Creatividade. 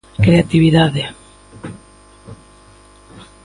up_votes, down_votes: 2, 0